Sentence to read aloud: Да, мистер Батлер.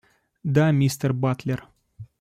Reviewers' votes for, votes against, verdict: 2, 0, accepted